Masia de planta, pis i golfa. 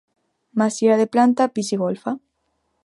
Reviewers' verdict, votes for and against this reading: accepted, 2, 0